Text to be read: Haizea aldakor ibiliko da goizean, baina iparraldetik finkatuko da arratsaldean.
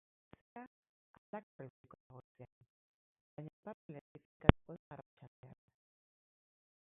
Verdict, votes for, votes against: rejected, 0, 4